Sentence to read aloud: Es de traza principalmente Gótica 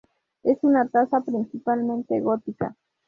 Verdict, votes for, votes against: rejected, 0, 2